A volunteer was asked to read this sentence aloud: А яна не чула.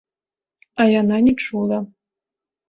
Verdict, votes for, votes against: accepted, 2, 0